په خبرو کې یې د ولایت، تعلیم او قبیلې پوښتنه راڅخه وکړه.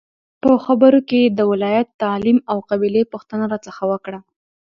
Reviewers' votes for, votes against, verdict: 2, 0, accepted